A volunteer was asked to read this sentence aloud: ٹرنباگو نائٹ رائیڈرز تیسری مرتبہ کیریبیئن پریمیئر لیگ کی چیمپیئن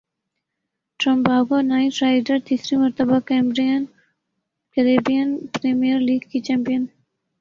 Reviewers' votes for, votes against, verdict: 2, 0, accepted